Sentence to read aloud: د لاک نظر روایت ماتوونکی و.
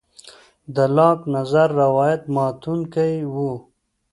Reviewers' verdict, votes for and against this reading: accepted, 2, 0